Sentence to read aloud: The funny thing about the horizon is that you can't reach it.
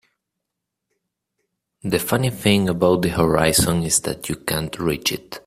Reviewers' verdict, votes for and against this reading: accepted, 2, 1